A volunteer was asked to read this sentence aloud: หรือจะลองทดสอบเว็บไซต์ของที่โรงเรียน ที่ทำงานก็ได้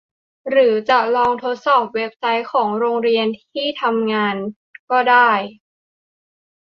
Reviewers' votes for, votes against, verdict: 0, 2, rejected